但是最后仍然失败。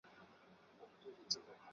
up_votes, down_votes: 2, 0